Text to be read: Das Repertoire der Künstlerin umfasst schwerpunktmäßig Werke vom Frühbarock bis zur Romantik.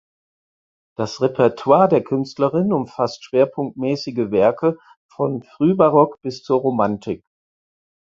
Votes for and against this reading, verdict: 0, 4, rejected